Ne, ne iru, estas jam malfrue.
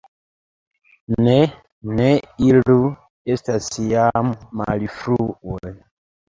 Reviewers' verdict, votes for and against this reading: rejected, 1, 2